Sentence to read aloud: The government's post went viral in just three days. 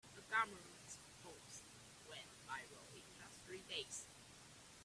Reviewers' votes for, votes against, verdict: 1, 2, rejected